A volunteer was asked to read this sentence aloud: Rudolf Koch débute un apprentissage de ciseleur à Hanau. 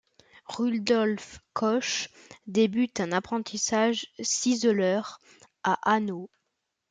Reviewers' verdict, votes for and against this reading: rejected, 0, 2